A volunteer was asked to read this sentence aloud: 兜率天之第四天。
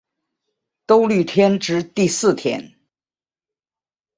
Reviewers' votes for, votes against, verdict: 5, 1, accepted